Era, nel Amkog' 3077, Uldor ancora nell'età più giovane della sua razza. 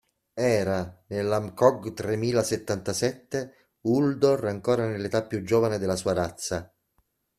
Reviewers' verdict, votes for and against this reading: rejected, 0, 2